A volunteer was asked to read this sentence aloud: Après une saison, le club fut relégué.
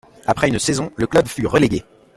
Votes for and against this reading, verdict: 2, 0, accepted